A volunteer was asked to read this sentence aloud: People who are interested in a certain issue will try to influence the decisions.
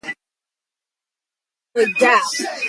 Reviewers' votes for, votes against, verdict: 0, 2, rejected